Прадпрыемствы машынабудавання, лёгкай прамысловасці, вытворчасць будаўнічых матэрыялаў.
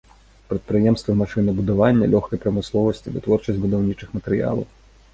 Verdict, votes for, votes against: accepted, 2, 0